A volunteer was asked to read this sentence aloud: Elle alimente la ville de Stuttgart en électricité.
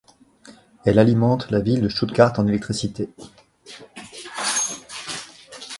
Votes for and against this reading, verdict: 2, 0, accepted